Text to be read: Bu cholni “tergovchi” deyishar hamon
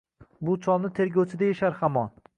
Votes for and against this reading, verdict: 2, 0, accepted